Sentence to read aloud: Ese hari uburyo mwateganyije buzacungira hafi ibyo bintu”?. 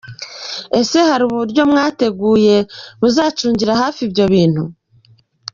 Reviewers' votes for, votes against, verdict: 1, 2, rejected